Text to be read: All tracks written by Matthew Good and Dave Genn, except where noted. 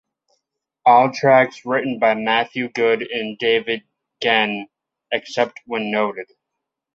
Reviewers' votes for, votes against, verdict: 2, 1, accepted